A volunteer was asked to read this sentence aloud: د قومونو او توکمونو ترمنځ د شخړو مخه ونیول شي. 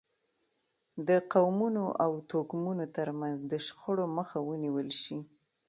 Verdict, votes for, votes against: accepted, 2, 0